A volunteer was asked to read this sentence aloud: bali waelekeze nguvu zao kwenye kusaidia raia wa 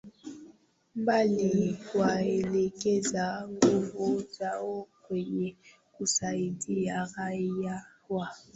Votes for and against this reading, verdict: 0, 2, rejected